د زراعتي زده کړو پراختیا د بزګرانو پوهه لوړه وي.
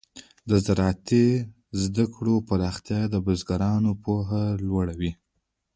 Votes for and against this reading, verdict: 0, 2, rejected